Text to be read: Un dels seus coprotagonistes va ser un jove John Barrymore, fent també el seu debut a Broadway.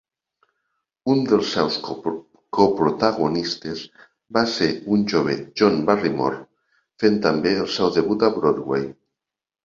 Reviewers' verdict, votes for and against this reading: rejected, 1, 2